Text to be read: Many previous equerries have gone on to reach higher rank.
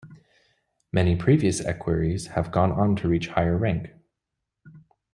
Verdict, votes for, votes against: accepted, 2, 0